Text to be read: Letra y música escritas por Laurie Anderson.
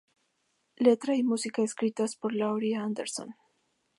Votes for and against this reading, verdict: 4, 0, accepted